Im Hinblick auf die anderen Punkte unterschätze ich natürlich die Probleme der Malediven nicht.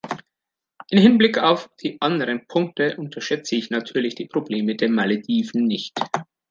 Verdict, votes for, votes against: accepted, 2, 0